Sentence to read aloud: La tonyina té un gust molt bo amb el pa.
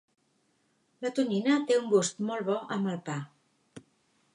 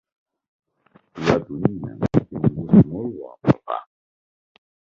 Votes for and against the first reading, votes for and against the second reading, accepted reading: 3, 0, 0, 2, first